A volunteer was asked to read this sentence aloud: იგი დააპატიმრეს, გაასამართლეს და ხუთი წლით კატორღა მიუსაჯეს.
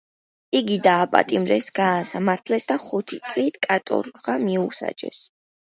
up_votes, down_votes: 2, 0